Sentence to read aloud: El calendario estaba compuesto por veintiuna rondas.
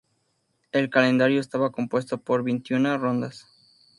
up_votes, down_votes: 2, 0